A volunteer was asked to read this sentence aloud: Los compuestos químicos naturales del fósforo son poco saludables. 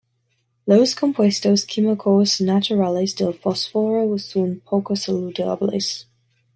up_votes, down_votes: 2, 0